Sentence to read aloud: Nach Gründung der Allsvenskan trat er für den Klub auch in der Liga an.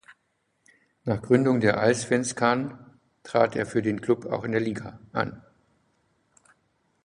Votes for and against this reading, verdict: 2, 0, accepted